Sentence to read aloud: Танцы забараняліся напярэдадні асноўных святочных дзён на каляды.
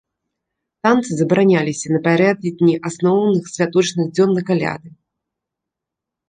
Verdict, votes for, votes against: rejected, 1, 2